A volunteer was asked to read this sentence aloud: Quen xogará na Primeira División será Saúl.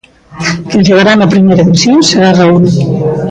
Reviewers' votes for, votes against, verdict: 1, 2, rejected